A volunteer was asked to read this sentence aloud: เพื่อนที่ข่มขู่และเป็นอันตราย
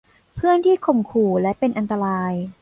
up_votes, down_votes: 2, 0